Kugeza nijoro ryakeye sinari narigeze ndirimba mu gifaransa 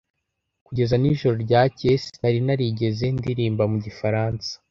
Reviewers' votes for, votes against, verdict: 2, 0, accepted